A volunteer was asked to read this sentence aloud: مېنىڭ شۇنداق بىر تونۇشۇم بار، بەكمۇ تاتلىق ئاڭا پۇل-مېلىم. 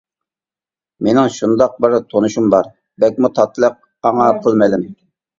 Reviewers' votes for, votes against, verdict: 1, 2, rejected